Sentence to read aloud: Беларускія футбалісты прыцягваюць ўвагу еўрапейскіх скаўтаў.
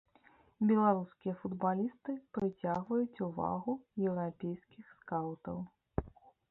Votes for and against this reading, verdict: 2, 0, accepted